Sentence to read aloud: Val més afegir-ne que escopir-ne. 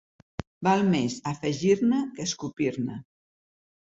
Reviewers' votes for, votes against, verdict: 2, 0, accepted